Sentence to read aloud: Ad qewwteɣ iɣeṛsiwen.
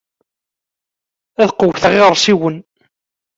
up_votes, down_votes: 1, 2